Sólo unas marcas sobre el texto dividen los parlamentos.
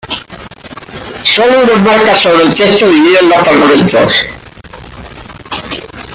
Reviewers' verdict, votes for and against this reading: rejected, 0, 2